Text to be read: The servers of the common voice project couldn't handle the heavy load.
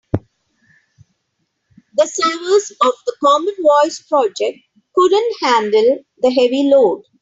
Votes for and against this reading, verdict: 3, 1, accepted